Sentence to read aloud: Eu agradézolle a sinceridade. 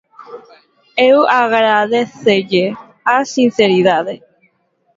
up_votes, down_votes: 0, 2